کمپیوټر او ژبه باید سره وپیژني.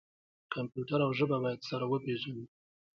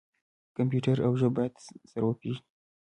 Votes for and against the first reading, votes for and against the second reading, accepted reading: 1, 2, 2, 0, second